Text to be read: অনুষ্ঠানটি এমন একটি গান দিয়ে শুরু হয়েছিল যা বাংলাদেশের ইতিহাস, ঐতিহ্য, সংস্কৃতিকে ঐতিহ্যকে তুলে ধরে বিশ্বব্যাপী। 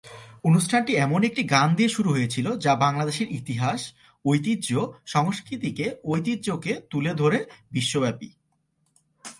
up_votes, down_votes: 2, 0